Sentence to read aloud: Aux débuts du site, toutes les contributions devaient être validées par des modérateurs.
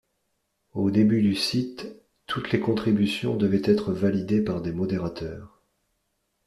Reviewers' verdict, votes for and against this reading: accepted, 2, 0